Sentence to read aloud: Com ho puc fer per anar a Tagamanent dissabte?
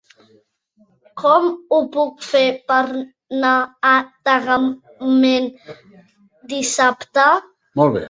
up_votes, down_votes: 0, 2